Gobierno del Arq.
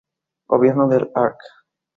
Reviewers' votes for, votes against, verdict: 2, 0, accepted